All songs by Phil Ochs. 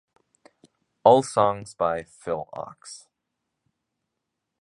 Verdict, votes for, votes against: rejected, 2, 3